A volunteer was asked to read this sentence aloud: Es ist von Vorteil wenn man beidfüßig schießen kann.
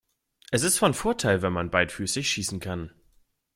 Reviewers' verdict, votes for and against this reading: accepted, 2, 0